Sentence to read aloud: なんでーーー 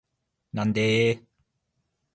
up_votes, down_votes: 2, 0